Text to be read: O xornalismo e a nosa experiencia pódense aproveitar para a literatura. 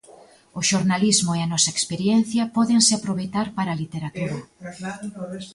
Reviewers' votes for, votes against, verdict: 0, 2, rejected